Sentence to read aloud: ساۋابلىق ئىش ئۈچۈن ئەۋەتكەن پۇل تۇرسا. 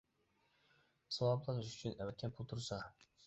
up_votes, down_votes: 0, 2